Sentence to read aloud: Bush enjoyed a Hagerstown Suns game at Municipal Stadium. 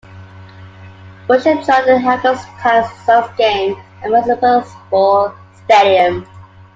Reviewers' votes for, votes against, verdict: 1, 2, rejected